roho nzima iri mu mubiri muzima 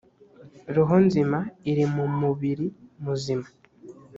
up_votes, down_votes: 2, 0